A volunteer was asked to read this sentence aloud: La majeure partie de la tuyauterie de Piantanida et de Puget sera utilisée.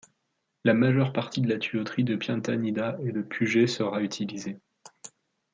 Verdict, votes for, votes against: accepted, 2, 1